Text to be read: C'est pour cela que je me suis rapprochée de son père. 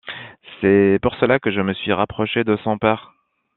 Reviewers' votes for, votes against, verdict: 1, 2, rejected